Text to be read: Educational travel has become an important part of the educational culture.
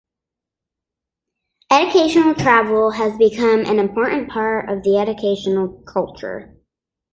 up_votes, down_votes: 2, 1